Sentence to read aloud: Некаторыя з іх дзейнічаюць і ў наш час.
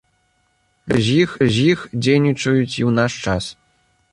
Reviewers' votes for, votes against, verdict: 0, 2, rejected